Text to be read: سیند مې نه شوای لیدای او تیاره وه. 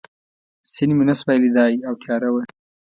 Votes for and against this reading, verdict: 2, 0, accepted